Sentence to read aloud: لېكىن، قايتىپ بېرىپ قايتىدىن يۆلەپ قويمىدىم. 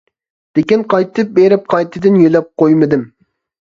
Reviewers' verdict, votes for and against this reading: accepted, 2, 0